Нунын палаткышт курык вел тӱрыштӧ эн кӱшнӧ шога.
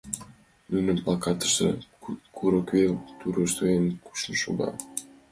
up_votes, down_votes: 0, 2